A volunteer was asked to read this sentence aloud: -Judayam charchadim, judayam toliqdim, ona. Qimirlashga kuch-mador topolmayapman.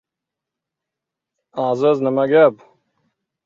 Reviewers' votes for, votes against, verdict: 0, 2, rejected